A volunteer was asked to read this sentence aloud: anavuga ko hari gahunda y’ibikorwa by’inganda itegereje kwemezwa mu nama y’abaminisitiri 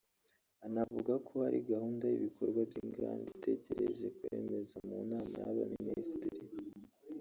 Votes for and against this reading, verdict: 1, 2, rejected